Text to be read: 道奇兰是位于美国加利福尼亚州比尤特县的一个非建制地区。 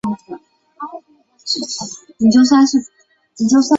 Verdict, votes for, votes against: rejected, 0, 2